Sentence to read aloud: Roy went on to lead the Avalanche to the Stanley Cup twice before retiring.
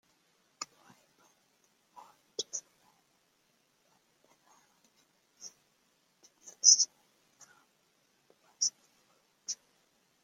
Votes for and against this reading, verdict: 0, 2, rejected